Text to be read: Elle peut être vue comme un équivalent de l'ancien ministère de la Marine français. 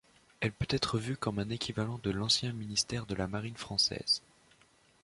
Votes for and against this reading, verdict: 0, 2, rejected